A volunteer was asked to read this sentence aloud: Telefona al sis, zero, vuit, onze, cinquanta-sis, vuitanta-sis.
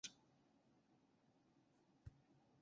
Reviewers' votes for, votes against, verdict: 0, 3, rejected